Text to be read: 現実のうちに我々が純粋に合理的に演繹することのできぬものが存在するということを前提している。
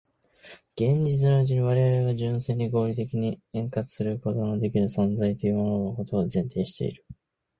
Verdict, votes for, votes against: accepted, 11, 8